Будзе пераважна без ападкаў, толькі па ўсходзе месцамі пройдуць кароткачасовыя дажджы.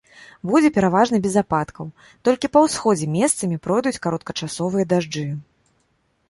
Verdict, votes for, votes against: accepted, 2, 0